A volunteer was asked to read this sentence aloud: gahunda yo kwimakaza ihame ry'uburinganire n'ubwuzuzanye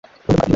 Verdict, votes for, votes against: rejected, 0, 2